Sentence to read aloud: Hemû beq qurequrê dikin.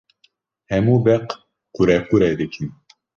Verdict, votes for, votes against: accepted, 2, 0